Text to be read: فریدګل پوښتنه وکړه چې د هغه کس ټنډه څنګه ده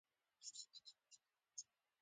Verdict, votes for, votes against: accepted, 2, 0